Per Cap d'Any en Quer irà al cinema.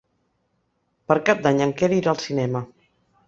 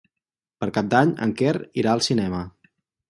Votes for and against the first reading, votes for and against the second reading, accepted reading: 3, 0, 2, 4, first